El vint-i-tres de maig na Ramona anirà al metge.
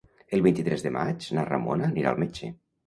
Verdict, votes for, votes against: rejected, 1, 2